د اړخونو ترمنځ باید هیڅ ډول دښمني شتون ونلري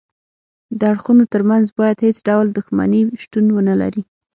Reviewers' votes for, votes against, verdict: 3, 6, rejected